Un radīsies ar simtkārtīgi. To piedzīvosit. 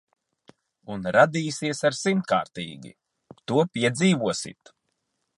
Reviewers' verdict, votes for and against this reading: accepted, 2, 0